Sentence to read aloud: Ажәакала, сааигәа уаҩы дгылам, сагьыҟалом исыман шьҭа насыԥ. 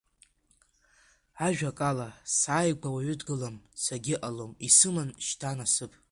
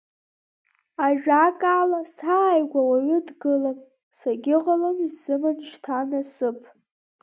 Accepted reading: second